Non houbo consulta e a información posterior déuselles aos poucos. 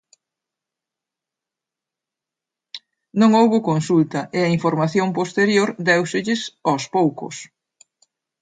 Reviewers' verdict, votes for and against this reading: accepted, 2, 0